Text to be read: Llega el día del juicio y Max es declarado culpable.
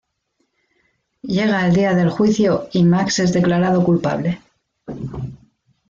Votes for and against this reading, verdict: 2, 0, accepted